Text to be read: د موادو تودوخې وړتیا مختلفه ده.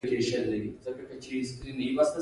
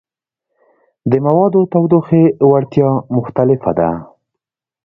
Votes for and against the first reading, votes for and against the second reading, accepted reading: 0, 2, 2, 0, second